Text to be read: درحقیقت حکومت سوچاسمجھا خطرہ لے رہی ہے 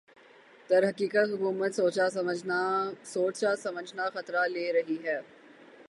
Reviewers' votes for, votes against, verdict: 6, 9, rejected